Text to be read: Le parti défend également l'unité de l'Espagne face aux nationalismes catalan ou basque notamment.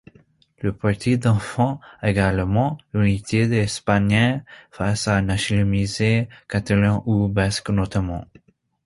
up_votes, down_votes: 0, 2